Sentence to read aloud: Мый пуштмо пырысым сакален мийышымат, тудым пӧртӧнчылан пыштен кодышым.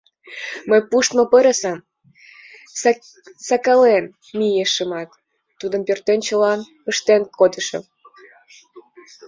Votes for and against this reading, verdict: 0, 2, rejected